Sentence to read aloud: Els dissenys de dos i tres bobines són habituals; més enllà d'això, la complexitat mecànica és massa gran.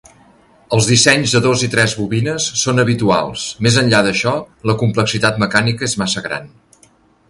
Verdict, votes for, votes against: accepted, 2, 0